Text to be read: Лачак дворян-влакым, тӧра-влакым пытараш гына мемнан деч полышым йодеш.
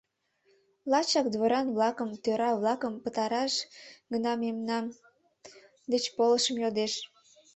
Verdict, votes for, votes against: rejected, 1, 2